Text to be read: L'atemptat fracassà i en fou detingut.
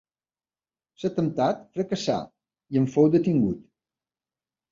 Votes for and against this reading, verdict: 0, 2, rejected